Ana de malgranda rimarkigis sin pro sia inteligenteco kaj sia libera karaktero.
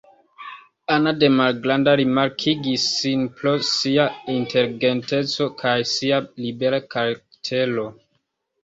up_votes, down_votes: 2, 0